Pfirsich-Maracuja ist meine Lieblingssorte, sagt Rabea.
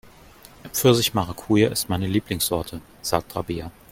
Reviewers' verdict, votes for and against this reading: accepted, 2, 0